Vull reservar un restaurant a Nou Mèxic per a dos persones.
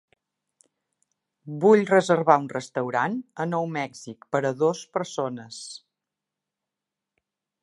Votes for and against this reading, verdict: 3, 0, accepted